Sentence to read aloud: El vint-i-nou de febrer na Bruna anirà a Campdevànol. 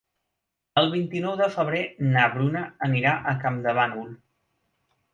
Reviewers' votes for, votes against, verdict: 3, 0, accepted